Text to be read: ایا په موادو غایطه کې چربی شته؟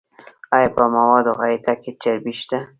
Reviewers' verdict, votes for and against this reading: rejected, 0, 2